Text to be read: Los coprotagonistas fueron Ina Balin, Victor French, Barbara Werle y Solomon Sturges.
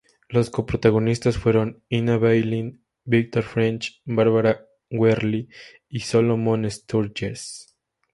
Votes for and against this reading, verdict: 2, 0, accepted